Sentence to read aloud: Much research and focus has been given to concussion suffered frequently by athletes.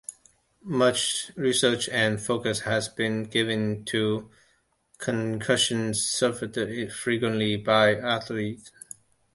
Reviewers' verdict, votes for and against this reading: accepted, 2, 1